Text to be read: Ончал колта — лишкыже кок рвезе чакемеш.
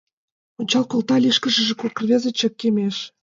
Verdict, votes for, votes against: rejected, 1, 2